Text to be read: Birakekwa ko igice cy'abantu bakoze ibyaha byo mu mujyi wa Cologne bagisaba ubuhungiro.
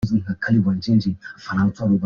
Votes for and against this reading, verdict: 0, 2, rejected